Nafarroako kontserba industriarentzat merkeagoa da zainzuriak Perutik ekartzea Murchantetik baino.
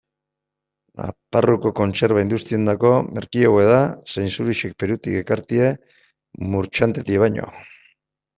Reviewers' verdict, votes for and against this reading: rejected, 1, 2